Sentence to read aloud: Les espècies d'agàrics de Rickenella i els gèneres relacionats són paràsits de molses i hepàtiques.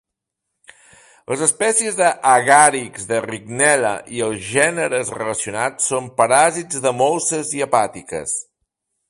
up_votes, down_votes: 1, 2